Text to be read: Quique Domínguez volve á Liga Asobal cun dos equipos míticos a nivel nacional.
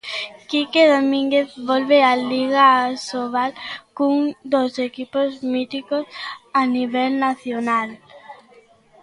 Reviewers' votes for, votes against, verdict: 2, 0, accepted